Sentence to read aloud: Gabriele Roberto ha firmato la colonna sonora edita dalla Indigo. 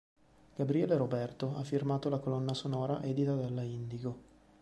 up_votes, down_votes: 0, 2